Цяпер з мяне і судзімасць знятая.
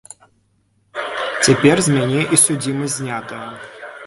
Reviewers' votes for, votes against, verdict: 1, 2, rejected